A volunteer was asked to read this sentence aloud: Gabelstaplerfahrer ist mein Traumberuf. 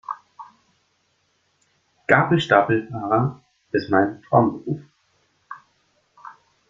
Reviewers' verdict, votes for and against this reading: rejected, 1, 2